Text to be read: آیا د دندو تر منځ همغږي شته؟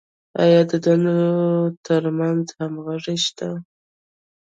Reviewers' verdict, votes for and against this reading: accepted, 2, 0